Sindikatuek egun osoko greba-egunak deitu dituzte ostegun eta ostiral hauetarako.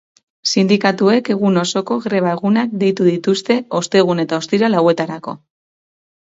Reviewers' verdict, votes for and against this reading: accepted, 4, 0